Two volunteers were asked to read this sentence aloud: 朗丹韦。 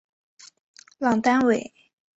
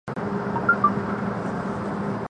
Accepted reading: first